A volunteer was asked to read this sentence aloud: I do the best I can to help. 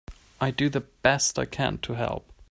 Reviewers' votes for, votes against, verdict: 2, 0, accepted